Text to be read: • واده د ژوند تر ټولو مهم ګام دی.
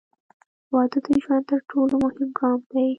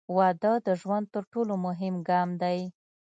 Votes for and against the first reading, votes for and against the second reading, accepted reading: 1, 2, 2, 0, second